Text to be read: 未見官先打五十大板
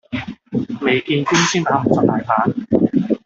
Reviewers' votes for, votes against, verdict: 1, 2, rejected